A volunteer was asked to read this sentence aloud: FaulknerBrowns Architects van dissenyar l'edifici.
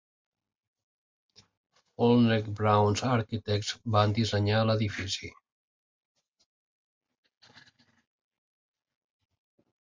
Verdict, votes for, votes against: rejected, 0, 2